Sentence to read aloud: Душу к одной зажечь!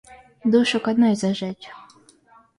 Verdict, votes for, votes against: accepted, 2, 1